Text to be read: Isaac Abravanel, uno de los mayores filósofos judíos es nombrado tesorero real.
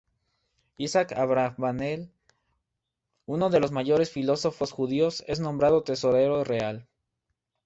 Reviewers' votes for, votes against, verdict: 0, 2, rejected